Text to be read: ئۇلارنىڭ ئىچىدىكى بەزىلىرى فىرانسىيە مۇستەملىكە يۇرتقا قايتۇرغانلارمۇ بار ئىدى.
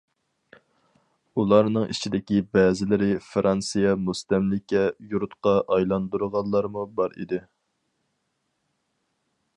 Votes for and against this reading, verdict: 0, 2, rejected